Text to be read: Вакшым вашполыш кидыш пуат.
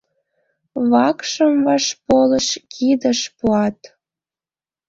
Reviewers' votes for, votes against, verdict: 2, 0, accepted